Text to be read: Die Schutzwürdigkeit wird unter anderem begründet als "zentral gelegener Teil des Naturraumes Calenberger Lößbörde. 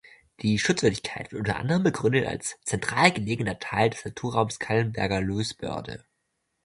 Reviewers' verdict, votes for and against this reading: rejected, 1, 2